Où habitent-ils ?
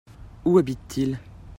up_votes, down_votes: 2, 0